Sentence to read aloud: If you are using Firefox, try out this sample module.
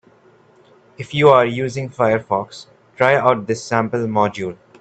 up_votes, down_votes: 4, 0